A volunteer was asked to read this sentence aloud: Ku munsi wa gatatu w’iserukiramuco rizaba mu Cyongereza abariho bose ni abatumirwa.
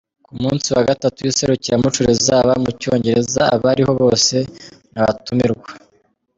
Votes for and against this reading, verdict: 2, 0, accepted